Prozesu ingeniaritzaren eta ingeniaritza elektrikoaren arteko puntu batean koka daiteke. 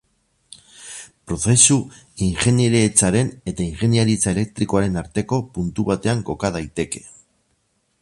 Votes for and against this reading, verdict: 2, 4, rejected